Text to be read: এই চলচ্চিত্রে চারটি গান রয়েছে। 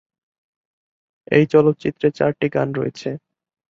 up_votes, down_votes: 3, 0